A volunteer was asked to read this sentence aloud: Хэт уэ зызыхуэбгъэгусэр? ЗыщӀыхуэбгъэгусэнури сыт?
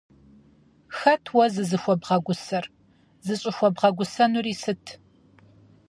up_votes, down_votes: 4, 0